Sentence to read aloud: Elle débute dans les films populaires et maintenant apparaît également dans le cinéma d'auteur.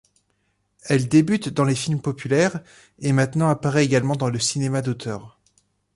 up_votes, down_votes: 2, 0